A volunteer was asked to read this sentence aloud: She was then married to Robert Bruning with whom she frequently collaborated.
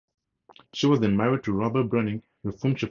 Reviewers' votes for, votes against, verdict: 0, 2, rejected